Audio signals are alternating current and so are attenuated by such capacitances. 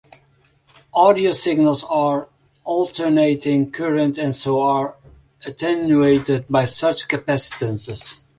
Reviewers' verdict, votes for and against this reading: accepted, 2, 0